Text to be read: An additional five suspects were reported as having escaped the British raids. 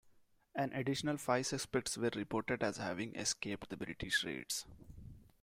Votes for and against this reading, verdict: 2, 1, accepted